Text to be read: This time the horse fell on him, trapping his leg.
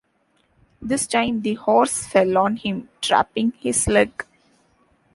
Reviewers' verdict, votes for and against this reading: accepted, 2, 0